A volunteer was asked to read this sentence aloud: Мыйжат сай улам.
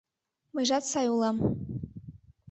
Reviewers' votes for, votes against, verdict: 2, 0, accepted